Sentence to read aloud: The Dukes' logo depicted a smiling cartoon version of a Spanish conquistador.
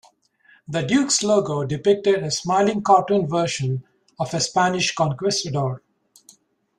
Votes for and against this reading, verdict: 0, 2, rejected